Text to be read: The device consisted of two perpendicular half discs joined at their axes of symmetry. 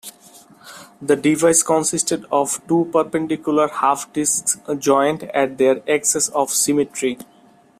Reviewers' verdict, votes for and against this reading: accepted, 2, 0